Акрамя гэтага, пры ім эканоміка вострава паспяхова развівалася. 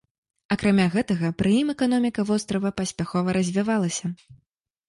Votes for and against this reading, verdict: 2, 1, accepted